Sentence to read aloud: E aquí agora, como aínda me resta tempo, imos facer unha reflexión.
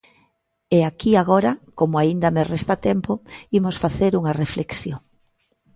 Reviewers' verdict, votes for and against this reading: accepted, 2, 0